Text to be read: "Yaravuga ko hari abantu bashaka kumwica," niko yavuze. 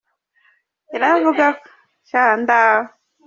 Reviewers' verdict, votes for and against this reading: rejected, 0, 2